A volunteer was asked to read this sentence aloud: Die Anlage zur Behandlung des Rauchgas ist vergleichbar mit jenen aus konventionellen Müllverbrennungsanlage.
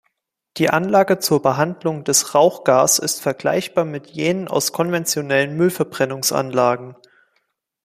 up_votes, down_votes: 1, 3